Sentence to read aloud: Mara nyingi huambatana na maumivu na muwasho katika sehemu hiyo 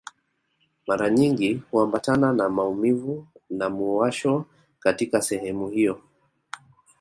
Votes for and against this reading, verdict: 2, 0, accepted